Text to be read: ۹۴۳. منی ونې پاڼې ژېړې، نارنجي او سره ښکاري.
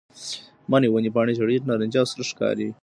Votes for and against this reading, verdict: 0, 2, rejected